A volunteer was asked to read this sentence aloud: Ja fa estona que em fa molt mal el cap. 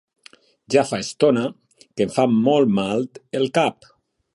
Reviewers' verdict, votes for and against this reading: accepted, 2, 0